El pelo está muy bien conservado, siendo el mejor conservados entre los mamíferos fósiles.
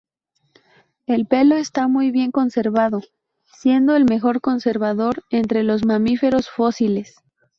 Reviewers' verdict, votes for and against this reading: rejected, 0, 2